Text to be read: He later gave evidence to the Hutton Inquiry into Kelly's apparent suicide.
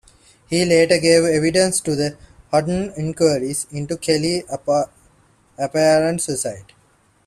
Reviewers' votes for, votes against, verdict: 0, 3, rejected